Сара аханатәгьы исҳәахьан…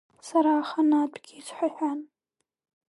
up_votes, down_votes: 2, 1